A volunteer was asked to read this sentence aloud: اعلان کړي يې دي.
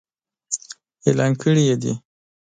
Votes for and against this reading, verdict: 2, 0, accepted